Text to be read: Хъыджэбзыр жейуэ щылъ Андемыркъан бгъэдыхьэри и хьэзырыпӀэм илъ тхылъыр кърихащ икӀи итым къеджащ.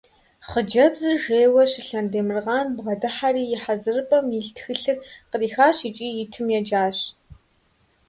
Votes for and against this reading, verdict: 0, 2, rejected